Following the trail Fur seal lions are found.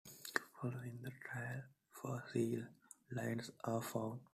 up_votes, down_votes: 0, 2